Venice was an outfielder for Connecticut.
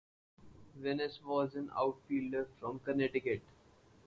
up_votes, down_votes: 0, 4